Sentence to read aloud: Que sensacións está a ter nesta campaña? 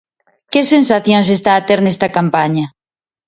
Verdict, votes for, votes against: accepted, 2, 0